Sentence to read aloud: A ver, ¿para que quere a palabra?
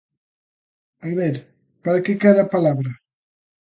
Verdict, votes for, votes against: accepted, 2, 0